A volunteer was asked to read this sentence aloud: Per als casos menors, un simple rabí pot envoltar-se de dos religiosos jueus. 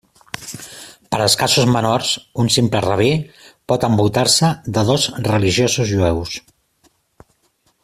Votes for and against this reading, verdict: 2, 0, accepted